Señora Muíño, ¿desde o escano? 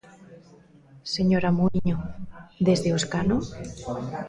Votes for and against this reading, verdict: 1, 2, rejected